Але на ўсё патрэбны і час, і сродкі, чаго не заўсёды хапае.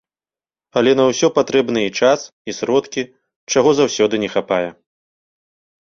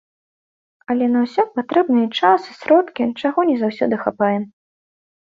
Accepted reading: second